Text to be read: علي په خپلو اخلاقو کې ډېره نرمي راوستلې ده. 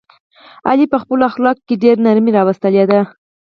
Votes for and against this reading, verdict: 4, 0, accepted